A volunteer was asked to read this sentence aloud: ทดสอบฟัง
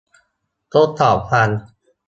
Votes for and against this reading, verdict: 1, 2, rejected